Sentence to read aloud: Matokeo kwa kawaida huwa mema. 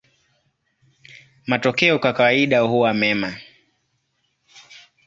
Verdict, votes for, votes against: accepted, 2, 0